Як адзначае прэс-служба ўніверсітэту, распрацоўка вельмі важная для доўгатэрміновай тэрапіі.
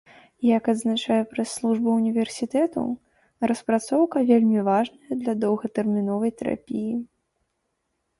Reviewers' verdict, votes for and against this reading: accepted, 2, 0